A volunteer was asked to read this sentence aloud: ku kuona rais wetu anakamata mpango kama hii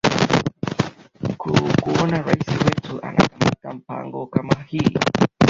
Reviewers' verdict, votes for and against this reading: rejected, 0, 2